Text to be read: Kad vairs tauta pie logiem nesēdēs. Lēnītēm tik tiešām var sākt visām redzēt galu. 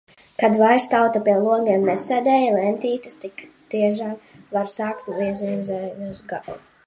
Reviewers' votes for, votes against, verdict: 0, 2, rejected